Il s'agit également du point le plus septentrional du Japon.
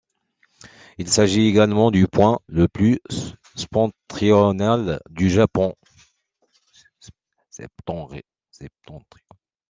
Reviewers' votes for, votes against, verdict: 0, 2, rejected